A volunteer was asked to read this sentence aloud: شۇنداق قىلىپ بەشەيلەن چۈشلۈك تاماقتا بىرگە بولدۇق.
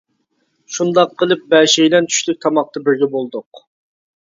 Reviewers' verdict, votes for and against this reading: accepted, 2, 0